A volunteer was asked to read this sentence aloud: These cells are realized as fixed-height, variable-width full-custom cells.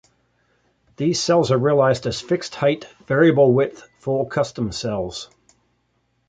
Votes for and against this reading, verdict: 2, 0, accepted